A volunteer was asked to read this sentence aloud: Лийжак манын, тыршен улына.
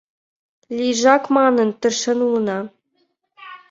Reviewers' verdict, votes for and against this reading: accepted, 2, 0